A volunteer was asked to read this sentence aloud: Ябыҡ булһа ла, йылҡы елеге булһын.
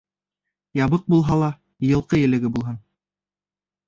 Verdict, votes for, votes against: rejected, 1, 2